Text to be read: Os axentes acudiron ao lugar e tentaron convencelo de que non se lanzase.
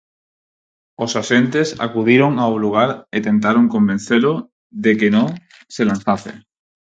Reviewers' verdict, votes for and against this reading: accepted, 4, 0